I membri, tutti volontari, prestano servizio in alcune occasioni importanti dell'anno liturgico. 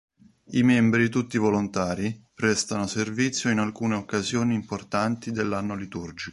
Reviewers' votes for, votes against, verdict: 1, 2, rejected